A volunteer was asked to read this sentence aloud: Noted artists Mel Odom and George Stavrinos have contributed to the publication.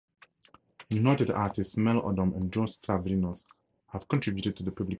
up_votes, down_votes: 0, 4